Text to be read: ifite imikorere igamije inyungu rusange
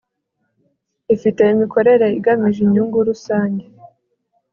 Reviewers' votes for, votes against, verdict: 2, 0, accepted